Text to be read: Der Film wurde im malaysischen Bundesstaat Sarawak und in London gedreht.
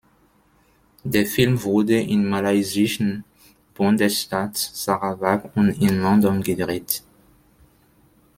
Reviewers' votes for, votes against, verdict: 1, 2, rejected